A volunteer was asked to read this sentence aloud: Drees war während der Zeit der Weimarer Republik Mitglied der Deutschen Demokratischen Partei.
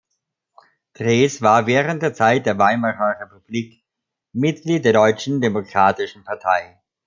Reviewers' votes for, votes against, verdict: 2, 0, accepted